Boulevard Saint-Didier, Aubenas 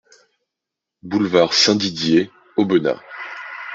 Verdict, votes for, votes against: accepted, 2, 0